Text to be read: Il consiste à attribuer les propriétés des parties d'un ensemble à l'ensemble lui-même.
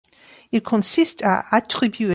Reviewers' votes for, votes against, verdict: 0, 3, rejected